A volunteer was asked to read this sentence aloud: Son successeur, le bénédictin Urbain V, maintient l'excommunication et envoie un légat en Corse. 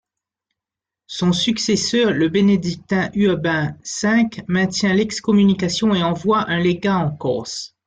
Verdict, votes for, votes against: accepted, 2, 0